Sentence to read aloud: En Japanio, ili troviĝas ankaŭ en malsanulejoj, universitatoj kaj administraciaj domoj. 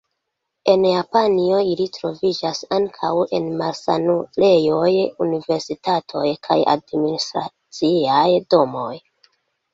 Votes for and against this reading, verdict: 0, 2, rejected